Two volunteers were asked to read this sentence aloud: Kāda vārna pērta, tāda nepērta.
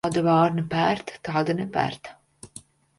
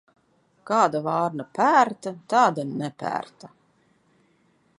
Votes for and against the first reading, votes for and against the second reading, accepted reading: 1, 2, 2, 0, second